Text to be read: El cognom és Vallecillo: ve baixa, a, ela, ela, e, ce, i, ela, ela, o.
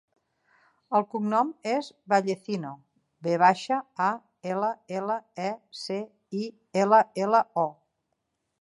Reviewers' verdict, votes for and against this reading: rejected, 0, 2